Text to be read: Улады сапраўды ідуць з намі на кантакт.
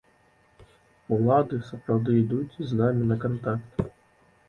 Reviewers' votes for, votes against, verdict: 2, 0, accepted